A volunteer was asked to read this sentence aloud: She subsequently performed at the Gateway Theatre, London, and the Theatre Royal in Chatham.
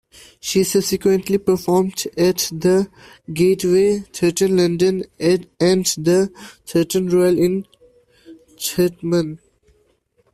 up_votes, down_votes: 0, 2